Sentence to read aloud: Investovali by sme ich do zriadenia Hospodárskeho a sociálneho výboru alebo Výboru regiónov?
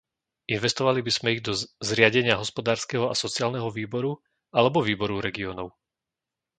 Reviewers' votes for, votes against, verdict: 1, 2, rejected